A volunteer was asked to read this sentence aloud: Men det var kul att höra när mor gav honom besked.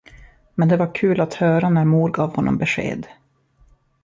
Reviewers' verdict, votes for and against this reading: accepted, 2, 0